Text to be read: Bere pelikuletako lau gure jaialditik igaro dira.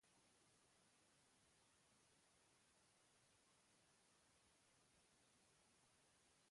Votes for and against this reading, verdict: 0, 3, rejected